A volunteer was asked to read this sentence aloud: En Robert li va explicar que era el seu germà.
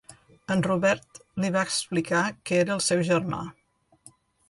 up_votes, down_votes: 2, 0